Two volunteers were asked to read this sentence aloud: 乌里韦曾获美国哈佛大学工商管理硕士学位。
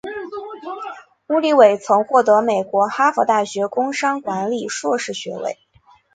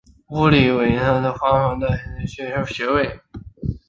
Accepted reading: first